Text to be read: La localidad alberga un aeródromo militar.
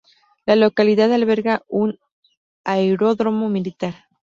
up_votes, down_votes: 2, 0